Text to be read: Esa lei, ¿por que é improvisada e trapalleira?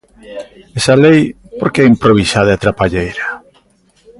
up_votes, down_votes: 2, 0